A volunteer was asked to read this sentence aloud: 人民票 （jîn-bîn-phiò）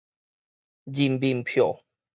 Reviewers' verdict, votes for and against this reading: accepted, 4, 0